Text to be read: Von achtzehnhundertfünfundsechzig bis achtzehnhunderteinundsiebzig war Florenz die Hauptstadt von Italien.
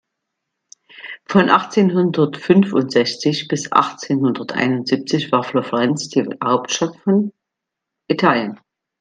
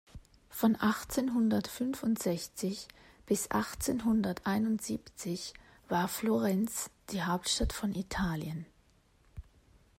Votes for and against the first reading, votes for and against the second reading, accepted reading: 0, 2, 2, 0, second